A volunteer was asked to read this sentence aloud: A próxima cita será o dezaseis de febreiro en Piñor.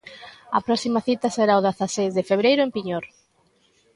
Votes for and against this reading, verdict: 2, 0, accepted